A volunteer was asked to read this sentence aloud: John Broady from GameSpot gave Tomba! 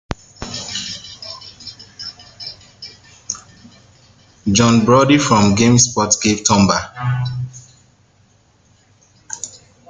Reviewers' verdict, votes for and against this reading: rejected, 1, 2